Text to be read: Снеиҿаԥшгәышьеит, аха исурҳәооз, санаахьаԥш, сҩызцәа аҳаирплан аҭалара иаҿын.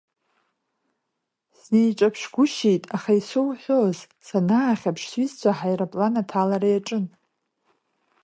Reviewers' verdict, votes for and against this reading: accepted, 2, 0